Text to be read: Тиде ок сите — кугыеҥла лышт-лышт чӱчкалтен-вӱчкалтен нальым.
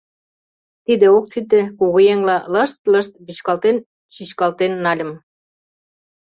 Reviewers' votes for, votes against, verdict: 0, 2, rejected